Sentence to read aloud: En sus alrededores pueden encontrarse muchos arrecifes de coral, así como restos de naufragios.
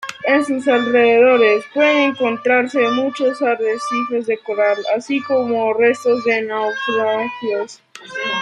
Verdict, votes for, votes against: rejected, 1, 2